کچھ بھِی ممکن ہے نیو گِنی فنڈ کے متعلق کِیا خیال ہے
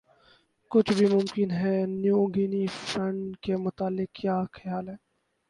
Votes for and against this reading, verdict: 0, 2, rejected